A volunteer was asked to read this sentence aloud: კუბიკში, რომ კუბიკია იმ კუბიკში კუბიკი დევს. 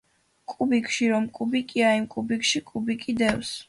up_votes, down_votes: 2, 0